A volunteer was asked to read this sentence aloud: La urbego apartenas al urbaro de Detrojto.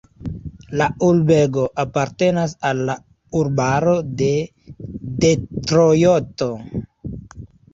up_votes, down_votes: 0, 2